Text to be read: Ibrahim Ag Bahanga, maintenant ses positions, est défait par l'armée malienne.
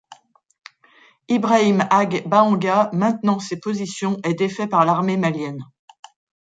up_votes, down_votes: 2, 0